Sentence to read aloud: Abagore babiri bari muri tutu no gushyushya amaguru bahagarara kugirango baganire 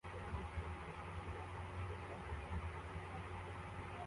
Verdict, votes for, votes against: rejected, 0, 2